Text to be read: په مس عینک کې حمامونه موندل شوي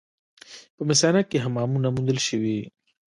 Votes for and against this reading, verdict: 1, 2, rejected